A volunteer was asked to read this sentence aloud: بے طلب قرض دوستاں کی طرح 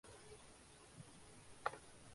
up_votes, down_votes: 1, 2